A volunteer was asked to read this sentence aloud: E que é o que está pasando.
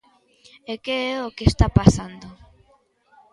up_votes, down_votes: 2, 0